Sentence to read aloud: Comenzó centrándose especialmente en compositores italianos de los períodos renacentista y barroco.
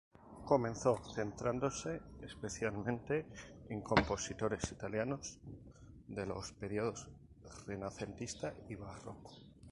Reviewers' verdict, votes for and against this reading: rejected, 0, 2